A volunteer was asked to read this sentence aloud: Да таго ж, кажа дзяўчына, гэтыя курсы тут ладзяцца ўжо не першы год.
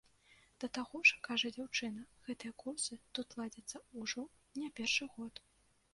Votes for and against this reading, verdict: 0, 2, rejected